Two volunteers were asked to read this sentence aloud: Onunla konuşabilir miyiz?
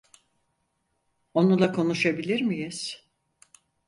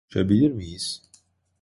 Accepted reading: first